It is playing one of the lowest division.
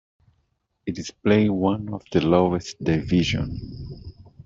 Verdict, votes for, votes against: accepted, 2, 0